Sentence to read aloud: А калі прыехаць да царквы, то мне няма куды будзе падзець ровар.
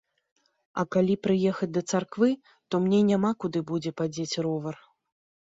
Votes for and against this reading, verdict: 2, 0, accepted